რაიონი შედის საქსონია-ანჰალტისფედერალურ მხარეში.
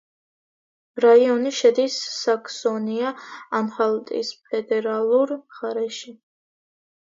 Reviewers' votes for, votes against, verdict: 1, 2, rejected